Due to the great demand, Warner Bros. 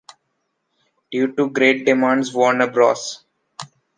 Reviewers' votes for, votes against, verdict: 2, 1, accepted